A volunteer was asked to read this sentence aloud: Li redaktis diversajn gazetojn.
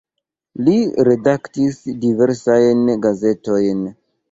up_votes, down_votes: 2, 0